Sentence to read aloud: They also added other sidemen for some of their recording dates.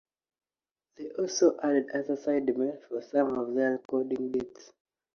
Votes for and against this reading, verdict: 2, 1, accepted